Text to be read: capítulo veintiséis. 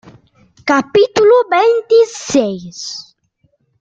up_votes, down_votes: 2, 0